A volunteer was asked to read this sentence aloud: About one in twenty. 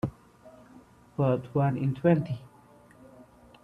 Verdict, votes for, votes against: rejected, 0, 2